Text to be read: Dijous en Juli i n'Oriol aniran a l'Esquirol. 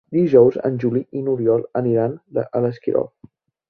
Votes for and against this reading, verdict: 0, 2, rejected